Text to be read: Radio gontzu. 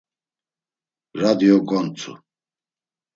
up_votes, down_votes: 2, 0